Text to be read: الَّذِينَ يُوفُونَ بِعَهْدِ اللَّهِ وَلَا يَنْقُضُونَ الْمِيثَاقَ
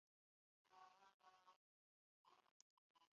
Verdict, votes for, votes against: rejected, 0, 2